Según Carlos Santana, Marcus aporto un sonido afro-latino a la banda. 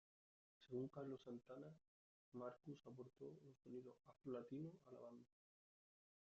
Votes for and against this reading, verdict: 1, 2, rejected